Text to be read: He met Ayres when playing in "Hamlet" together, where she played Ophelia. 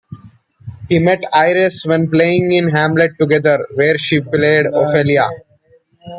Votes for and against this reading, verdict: 2, 0, accepted